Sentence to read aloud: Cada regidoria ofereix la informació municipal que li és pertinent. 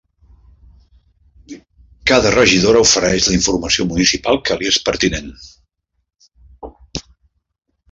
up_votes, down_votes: 1, 2